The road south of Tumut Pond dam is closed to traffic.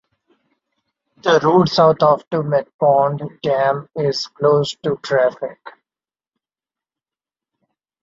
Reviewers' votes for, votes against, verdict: 2, 0, accepted